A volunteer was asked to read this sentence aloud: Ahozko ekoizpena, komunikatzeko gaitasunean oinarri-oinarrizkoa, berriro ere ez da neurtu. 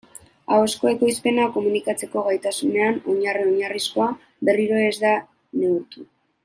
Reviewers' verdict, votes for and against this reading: accepted, 2, 1